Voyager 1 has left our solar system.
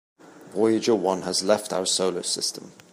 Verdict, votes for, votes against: rejected, 0, 2